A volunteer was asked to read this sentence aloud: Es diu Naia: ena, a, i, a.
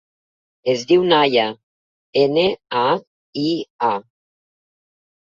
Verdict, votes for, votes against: accepted, 2, 0